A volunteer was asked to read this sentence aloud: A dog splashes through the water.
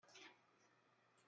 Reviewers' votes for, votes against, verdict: 0, 2, rejected